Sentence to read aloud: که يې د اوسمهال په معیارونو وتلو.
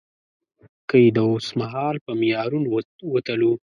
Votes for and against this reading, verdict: 8, 0, accepted